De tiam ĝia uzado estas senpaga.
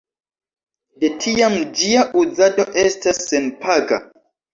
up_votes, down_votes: 2, 0